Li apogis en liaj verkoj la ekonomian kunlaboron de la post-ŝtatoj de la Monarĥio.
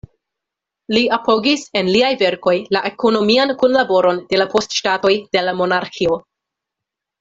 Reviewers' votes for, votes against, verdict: 2, 0, accepted